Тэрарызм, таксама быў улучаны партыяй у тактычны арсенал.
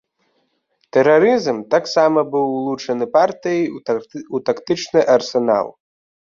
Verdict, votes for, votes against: rejected, 1, 2